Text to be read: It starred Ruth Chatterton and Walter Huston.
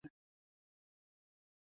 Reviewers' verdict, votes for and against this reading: rejected, 0, 2